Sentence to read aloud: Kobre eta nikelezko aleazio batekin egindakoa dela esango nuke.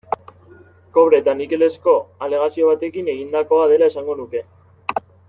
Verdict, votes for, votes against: accepted, 2, 0